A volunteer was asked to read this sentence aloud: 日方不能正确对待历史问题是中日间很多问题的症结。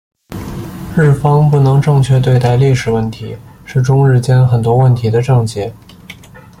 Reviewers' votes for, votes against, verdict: 2, 0, accepted